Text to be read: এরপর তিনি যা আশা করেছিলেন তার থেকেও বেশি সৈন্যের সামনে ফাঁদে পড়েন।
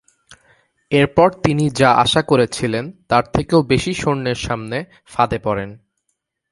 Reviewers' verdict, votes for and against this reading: accepted, 3, 0